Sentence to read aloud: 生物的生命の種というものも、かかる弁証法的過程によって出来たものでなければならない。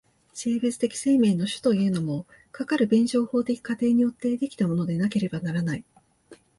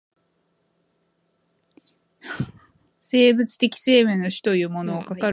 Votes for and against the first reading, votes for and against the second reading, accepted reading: 2, 0, 0, 2, first